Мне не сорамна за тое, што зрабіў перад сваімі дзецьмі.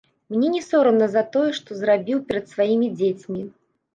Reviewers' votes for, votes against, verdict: 2, 0, accepted